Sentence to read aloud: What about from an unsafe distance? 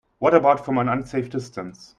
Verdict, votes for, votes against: accepted, 2, 0